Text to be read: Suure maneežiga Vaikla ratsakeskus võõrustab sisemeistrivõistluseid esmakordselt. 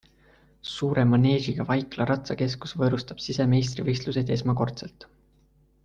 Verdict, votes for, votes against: accepted, 2, 0